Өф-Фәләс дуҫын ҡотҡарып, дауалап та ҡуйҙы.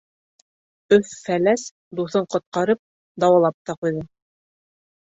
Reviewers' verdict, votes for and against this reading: accepted, 3, 0